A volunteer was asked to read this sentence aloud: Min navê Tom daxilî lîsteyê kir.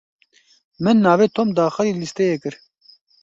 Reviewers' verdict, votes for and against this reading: accepted, 2, 0